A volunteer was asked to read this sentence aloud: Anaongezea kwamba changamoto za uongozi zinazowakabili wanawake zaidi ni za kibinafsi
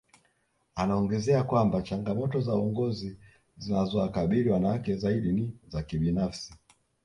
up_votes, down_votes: 0, 2